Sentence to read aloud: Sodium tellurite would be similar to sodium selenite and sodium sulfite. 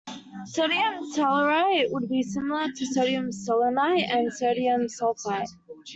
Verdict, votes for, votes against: accepted, 2, 0